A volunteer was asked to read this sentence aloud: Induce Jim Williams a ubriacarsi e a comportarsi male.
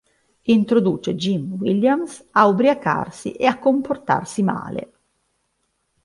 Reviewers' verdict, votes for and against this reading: rejected, 2, 3